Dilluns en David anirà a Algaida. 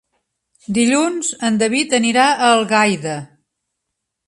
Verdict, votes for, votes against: accepted, 3, 0